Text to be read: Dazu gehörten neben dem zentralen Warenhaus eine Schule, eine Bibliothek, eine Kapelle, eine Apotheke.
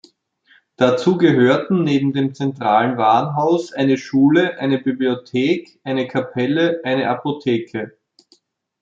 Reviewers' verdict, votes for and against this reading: accepted, 2, 0